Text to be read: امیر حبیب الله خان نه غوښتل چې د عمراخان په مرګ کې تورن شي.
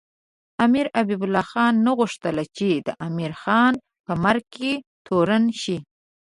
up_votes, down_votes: 1, 2